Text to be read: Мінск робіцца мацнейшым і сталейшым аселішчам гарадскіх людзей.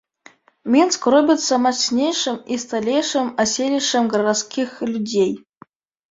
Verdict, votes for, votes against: accepted, 2, 0